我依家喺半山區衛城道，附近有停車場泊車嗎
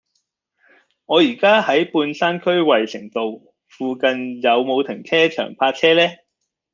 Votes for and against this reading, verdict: 0, 2, rejected